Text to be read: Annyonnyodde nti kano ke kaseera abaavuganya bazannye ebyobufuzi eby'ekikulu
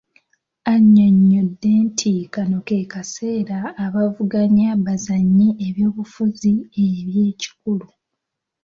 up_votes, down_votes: 2, 0